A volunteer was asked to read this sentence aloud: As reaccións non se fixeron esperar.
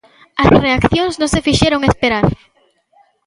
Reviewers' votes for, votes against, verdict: 1, 2, rejected